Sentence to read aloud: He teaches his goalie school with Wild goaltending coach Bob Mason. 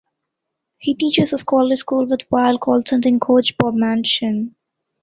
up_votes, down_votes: 0, 2